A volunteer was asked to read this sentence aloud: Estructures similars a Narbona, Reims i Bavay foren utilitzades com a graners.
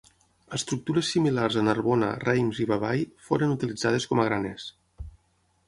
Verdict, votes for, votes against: accepted, 6, 3